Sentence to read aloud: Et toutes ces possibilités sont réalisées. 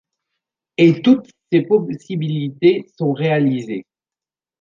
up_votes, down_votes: 0, 2